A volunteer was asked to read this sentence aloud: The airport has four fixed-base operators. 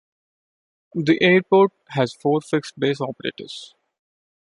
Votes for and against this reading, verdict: 2, 0, accepted